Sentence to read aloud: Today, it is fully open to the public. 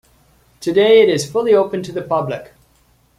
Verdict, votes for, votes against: accepted, 2, 0